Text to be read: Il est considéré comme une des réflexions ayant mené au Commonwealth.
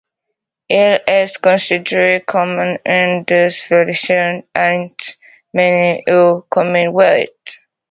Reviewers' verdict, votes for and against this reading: rejected, 0, 2